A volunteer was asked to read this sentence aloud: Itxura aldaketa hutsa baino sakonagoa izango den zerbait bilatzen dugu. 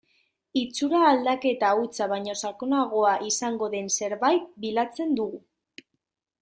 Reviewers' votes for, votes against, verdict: 1, 2, rejected